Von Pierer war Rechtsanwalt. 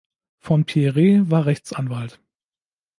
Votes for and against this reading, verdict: 0, 2, rejected